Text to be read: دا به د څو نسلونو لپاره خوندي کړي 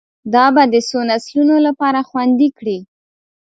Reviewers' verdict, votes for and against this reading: accepted, 2, 0